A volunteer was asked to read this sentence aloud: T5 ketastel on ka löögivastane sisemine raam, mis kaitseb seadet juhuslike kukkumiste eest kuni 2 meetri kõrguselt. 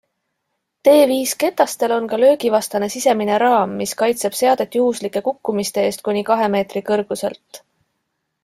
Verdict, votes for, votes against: rejected, 0, 2